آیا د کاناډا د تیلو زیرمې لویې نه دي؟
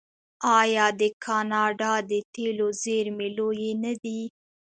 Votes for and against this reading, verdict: 2, 0, accepted